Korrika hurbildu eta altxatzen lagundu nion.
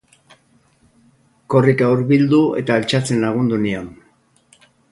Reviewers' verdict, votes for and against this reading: rejected, 0, 2